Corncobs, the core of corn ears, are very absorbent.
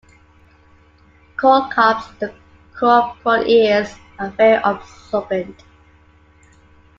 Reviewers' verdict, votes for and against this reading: rejected, 0, 2